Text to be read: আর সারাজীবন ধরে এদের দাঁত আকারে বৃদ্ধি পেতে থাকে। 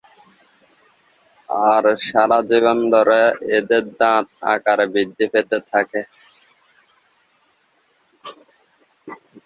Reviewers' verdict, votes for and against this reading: rejected, 3, 5